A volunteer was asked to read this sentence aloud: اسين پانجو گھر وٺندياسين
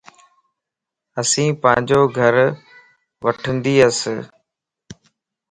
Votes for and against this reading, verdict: 2, 0, accepted